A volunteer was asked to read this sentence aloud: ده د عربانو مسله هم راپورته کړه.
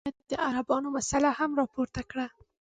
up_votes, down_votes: 2, 1